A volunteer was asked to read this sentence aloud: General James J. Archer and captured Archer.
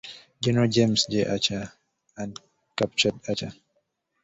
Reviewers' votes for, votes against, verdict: 1, 2, rejected